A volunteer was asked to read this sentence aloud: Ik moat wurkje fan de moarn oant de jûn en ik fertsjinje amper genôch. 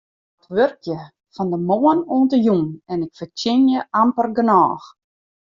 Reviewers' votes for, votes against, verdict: 0, 2, rejected